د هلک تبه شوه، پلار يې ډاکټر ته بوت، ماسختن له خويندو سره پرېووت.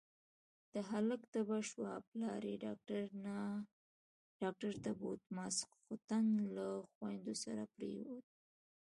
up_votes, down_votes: 2, 0